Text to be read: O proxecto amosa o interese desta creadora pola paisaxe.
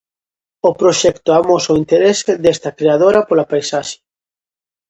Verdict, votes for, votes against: accepted, 2, 0